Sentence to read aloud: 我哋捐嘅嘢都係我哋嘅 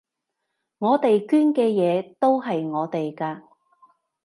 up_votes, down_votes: 0, 2